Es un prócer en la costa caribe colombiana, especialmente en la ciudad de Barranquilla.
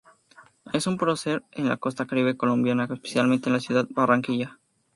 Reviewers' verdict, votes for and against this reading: accepted, 2, 0